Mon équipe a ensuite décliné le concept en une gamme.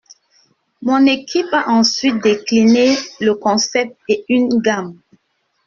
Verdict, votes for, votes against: rejected, 1, 2